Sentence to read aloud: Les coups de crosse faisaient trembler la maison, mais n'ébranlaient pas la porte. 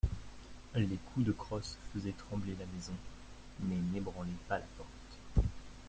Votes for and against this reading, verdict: 0, 2, rejected